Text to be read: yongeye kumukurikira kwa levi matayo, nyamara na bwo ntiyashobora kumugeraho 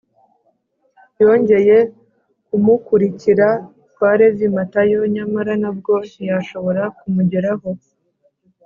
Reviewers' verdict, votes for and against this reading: accepted, 3, 0